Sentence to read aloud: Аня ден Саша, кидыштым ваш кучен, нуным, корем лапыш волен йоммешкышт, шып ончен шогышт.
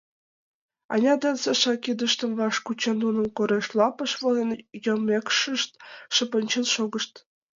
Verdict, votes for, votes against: accepted, 2, 0